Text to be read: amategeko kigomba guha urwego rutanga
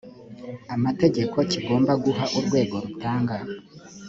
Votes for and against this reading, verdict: 3, 0, accepted